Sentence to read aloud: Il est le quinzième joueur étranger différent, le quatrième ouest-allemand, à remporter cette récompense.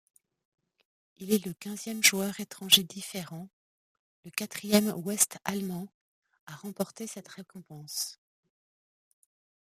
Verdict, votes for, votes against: rejected, 1, 2